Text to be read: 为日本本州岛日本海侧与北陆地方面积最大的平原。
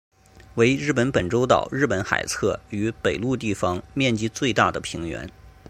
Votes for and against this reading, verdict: 2, 1, accepted